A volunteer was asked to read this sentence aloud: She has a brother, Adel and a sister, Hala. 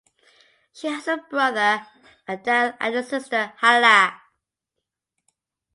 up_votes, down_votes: 2, 0